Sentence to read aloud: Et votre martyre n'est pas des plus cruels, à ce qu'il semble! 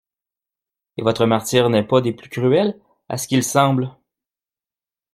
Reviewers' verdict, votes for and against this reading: accepted, 2, 1